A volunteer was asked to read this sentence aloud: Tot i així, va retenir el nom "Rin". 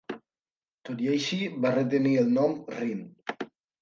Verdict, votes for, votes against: accepted, 4, 0